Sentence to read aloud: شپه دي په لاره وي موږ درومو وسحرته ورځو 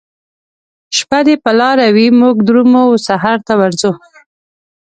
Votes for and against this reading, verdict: 2, 1, accepted